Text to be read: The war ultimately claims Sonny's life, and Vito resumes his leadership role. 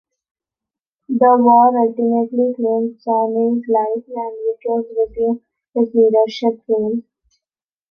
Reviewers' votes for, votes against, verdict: 0, 2, rejected